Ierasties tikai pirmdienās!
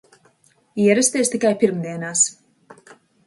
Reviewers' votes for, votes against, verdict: 2, 0, accepted